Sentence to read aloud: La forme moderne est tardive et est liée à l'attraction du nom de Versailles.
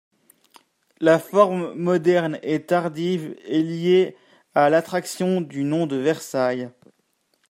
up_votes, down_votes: 0, 3